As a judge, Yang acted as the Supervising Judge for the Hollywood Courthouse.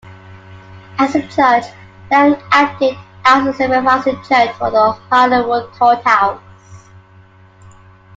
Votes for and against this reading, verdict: 1, 2, rejected